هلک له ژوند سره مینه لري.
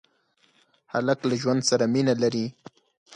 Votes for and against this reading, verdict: 0, 4, rejected